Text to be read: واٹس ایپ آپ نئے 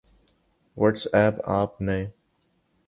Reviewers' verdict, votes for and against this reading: accepted, 3, 0